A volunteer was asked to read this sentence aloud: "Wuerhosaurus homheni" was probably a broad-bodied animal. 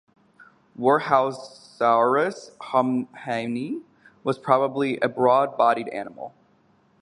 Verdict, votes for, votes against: rejected, 2, 2